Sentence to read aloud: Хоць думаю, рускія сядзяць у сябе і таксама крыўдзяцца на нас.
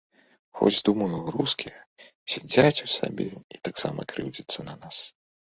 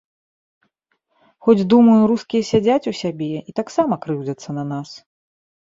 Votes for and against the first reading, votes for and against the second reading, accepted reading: 0, 2, 2, 0, second